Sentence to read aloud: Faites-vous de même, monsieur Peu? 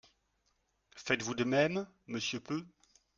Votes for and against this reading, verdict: 2, 0, accepted